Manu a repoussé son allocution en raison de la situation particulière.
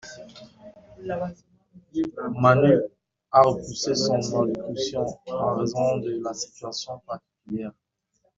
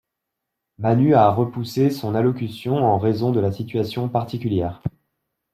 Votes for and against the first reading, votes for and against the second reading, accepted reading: 1, 2, 2, 0, second